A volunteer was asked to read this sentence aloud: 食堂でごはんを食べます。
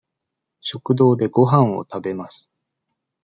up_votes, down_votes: 2, 0